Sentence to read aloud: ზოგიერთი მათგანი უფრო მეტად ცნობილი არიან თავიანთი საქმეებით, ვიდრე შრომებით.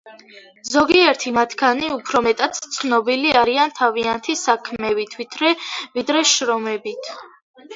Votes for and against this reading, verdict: 2, 1, accepted